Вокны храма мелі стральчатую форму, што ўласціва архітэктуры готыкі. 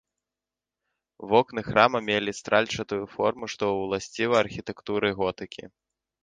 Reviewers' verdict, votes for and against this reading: rejected, 0, 2